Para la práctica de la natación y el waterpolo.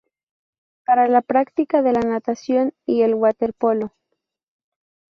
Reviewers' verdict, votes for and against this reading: accepted, 2, 0